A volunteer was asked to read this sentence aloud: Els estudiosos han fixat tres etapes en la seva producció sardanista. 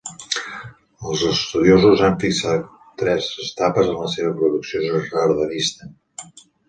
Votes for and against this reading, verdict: 1, 2, rejected